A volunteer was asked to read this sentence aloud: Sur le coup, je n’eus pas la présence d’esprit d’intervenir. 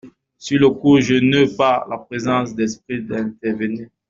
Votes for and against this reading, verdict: 0, 2, rejected